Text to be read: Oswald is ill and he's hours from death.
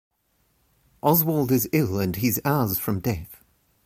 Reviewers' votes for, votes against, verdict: 2, 0, accepted